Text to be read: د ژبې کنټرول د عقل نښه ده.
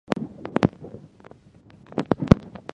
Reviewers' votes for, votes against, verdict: 0, 2, rejected